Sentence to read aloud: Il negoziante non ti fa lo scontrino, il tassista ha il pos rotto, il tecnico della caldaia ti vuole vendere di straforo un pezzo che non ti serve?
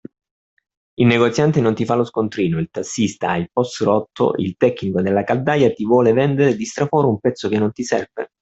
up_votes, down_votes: 0, 2